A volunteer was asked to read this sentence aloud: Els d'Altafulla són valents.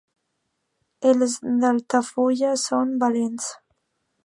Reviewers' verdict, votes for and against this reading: rejected, 0, 2